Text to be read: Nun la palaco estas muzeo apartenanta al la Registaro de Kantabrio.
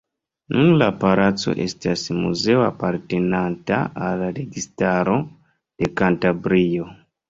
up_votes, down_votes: 1, 2